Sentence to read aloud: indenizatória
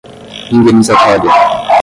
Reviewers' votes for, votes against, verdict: 0, 5, rejected